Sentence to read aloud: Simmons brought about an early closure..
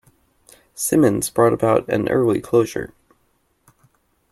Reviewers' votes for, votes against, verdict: 2, 0, accepted